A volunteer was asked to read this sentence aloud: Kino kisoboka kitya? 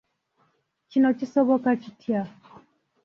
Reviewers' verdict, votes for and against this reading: rejected, 1, 2